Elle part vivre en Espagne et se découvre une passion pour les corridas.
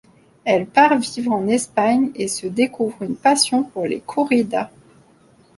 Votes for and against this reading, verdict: 2, 0, accepted